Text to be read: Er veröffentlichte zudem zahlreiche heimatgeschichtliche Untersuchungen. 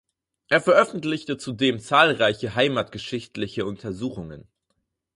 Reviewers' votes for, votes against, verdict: 4, 0, accepted